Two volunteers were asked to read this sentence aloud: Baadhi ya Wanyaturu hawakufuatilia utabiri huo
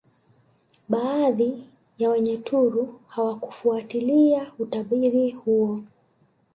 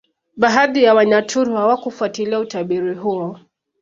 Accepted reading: second